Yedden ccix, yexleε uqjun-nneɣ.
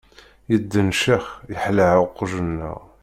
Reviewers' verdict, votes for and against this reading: rejected, 0, 2